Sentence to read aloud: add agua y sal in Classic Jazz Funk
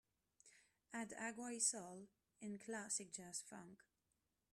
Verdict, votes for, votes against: accepted, 2, 0